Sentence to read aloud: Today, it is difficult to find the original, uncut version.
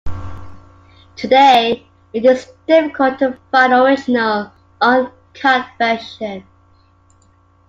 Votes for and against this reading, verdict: 0, 2, rejected